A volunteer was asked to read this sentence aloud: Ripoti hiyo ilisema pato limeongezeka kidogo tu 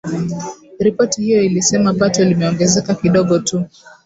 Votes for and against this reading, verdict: 2, 0, accepted